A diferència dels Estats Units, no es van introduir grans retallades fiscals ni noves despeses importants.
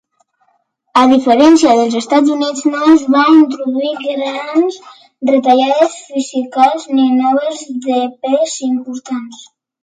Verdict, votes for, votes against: rejected, 0, 2